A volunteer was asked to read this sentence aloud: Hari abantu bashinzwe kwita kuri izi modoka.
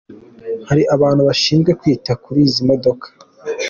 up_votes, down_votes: 2, 0